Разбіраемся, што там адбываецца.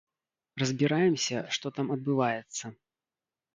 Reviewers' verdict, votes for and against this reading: accepted, 2, 0